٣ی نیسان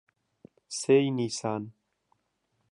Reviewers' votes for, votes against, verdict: 0, 2, rejected